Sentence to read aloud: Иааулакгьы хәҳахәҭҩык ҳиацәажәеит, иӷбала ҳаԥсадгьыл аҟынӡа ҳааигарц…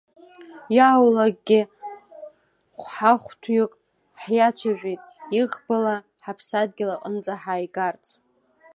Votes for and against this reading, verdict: 0, 2, rejected